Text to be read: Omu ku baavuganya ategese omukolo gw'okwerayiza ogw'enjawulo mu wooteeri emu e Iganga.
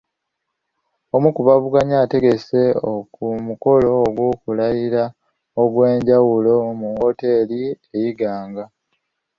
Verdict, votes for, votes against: rejected, 1, 2